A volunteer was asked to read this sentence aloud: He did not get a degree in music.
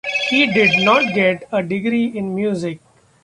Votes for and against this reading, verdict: 0, 2, rejected